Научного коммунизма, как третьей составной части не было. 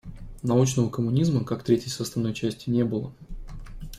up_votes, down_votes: 2, 0